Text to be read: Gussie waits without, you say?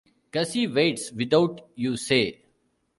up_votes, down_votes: 2, 1